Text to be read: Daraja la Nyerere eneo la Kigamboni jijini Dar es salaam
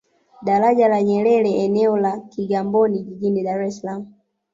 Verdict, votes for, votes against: rejected, 0, 2